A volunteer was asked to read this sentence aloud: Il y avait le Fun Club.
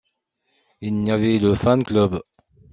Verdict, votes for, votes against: rejected, 1, 2